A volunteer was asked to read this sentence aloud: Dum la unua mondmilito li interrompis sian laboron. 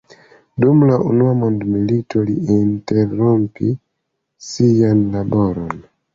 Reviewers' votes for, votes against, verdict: 0, 2, rejected